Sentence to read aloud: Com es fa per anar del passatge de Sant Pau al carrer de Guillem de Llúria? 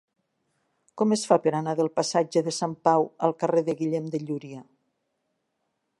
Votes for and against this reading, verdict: 3, 0, accepted